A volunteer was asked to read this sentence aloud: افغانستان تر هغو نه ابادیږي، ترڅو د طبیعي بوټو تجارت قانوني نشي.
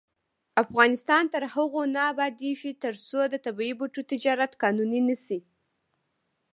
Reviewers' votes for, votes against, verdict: 0, 2, rejected